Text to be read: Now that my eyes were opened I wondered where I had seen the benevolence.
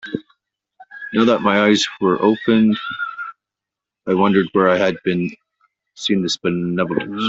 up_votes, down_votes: 0, 2